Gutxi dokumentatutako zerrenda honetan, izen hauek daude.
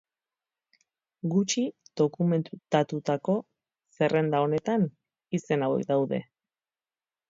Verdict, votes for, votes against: rejected, 0, 4